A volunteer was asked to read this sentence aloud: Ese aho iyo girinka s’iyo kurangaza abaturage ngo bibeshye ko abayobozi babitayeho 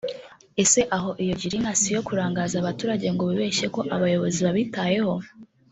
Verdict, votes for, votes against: accepted, 2, 0